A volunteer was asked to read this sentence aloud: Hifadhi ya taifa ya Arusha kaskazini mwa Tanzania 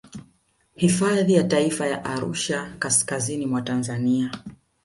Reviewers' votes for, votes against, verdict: 4, 0, accepted